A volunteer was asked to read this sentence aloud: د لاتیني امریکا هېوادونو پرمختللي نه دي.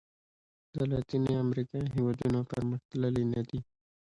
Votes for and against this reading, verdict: 2, 0, accepted